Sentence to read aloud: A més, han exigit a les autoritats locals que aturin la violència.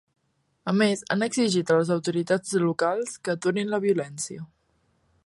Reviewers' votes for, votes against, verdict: 2, 0, accepted